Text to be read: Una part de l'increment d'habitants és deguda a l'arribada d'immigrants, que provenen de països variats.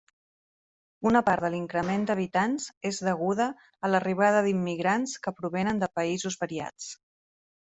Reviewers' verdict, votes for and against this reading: accepted, 3, 0